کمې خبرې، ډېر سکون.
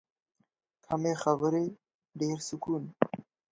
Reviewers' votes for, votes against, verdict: 2, 0, accepted